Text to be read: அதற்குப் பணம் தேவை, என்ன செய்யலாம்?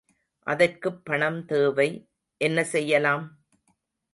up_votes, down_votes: 2, 0